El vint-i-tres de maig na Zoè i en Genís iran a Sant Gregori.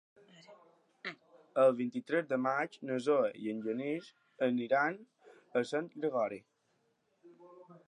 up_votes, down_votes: 2, 1